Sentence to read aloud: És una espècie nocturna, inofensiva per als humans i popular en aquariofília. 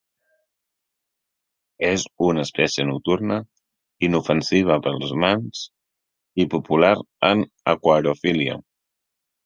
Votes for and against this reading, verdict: 1, 2, rejected